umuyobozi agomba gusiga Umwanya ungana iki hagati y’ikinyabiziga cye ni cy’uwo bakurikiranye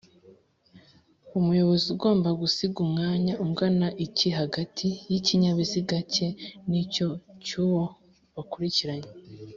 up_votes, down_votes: 1, 2